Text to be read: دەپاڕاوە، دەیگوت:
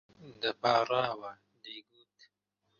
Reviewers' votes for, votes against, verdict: 1, 2, rejected